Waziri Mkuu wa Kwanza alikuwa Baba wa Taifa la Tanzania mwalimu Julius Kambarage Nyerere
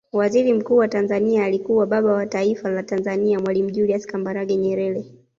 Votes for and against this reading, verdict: 0, 2, rejected